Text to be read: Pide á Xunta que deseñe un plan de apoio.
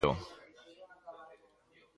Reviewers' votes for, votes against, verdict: 0, 4, rejected